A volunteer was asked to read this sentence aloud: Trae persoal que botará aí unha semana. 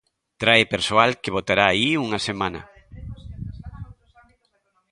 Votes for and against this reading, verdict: 0, 2, rejected